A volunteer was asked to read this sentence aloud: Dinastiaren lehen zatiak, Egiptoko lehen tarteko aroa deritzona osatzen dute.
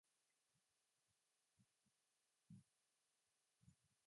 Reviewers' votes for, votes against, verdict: 0, 3, rejected